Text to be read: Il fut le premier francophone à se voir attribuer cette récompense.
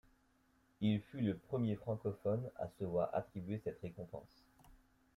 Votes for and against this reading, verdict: 1, 2, rejected